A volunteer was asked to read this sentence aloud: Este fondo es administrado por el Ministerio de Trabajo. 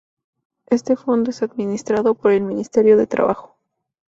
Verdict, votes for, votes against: accepted, 2, 0